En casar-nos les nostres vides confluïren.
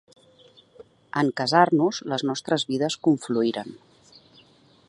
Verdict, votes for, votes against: accepted, 2, 0